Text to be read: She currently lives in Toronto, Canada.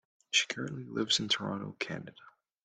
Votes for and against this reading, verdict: 1, 2, rejected